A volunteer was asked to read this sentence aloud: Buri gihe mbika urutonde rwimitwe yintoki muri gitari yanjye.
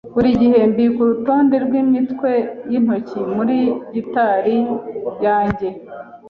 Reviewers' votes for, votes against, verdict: 2, 0, accepted